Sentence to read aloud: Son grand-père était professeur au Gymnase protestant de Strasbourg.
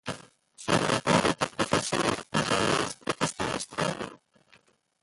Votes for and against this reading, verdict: 0, 2, rejected